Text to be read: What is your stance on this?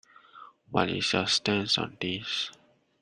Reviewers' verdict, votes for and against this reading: accepted, 2, 1